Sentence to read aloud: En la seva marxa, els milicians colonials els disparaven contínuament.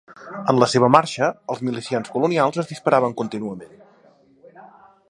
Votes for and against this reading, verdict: 2, 0, accepted